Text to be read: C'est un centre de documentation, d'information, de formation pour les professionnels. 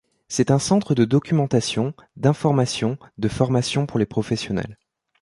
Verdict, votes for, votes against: accepted, 2, 0